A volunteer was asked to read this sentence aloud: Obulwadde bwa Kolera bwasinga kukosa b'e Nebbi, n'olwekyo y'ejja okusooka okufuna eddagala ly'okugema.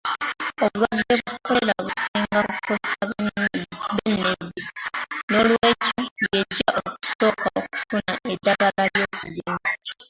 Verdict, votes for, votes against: rejected, 0, 2